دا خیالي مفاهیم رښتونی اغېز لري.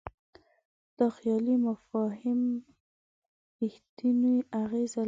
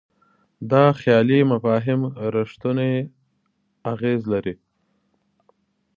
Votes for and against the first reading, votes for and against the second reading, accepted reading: 1, 2, 2, 1, second